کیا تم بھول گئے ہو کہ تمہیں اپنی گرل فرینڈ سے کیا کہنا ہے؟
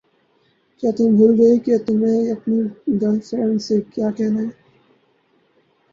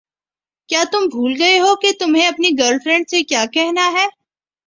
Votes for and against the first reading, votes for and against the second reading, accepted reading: 2, 4, 3, 0, second